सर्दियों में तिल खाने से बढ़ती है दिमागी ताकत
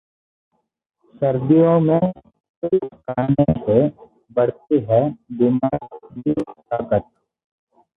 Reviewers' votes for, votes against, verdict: 0, 2, rejected